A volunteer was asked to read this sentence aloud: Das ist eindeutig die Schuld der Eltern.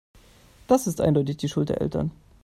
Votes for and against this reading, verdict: 2, 0, accepted